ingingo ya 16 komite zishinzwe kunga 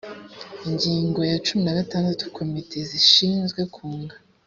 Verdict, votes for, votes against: rejected, 0, 2